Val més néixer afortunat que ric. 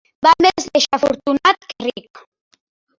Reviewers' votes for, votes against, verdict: 0, 2, rejected